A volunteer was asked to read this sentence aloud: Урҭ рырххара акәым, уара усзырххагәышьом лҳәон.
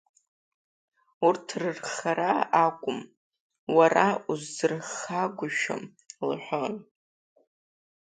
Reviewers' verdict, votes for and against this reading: accepted, 2, 1